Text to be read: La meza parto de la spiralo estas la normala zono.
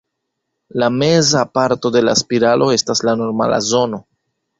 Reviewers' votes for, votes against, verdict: 2, 0, accepted